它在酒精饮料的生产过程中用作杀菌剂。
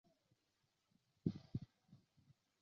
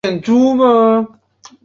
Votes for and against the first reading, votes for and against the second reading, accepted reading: 3, 1, 2, 3, first